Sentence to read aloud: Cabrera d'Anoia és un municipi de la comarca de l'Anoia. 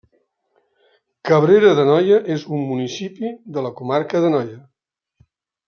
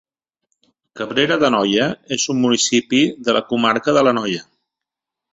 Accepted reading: second